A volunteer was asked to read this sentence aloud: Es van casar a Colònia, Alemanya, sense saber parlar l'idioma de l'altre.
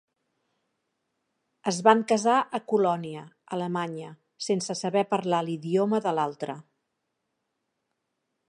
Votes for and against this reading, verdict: 2, 0, accepted